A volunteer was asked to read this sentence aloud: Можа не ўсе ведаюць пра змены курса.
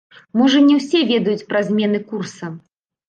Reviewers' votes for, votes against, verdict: 0, 2, rejected